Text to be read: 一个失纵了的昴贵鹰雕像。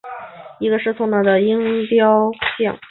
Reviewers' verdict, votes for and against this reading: accepted, 2, 0